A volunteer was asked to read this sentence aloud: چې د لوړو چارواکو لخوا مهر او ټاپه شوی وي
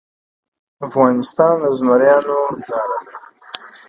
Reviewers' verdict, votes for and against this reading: rejected, 0, 2